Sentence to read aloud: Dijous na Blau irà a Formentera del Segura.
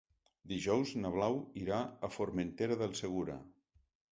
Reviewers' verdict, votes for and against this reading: accepted, 3, 0